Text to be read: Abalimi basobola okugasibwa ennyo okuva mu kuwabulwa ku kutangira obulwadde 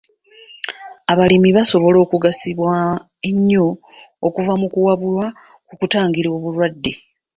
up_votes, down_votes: 2, 0